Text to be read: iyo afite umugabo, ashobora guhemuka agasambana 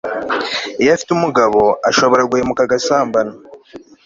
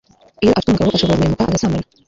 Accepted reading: first